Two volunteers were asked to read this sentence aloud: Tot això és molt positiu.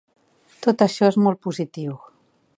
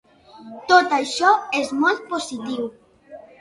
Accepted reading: first